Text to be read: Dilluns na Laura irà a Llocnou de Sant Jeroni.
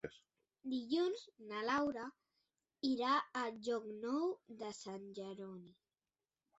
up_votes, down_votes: 2, 1